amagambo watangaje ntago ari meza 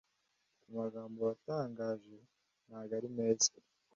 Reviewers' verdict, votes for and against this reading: accepted, 2, 1